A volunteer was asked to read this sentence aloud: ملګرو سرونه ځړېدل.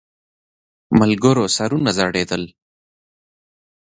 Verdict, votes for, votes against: accepted, 2, 1